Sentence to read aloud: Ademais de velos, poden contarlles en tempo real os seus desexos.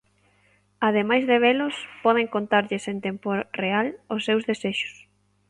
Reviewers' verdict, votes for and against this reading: accepted, 2, 0